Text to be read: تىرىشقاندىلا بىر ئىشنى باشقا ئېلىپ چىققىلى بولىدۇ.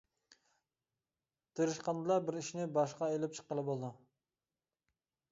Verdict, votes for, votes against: accepted, 2, 0